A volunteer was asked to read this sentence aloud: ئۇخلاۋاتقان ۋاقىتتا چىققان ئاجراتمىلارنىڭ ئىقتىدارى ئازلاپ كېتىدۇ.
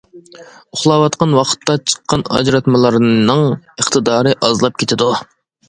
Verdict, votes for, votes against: accepted, 2, 0